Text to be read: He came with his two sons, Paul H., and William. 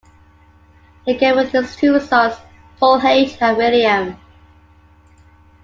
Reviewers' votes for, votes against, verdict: 2, 1, accepted